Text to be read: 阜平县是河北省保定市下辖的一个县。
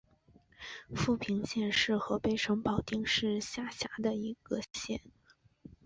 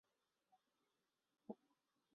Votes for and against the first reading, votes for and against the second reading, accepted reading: 2, 0, 0, 2, first